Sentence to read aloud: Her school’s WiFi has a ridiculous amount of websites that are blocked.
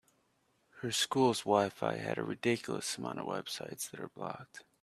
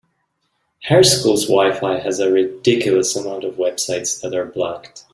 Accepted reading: second